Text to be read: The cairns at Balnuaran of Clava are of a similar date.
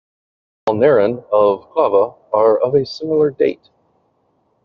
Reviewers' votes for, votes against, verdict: 0, 2, rejected